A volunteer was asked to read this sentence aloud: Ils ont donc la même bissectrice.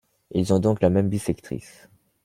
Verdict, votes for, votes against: accepted, 2, 0